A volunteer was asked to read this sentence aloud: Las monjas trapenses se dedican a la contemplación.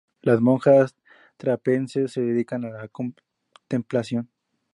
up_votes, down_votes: 2, 0